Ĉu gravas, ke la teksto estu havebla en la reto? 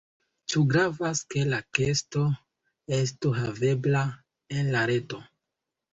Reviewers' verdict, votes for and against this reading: rejected, 0, 2